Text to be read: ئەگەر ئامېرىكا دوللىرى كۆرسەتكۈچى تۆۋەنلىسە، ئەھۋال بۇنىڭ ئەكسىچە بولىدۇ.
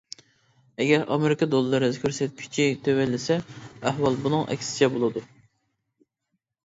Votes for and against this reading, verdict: 2, 1, accepted